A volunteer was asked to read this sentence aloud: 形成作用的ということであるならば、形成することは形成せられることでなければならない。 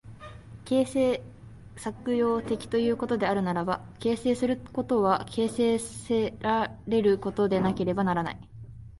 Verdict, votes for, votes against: rejected, 0, 2